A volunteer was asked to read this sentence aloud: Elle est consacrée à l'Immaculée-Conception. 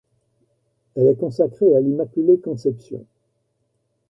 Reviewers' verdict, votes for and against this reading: accepted, 2, 1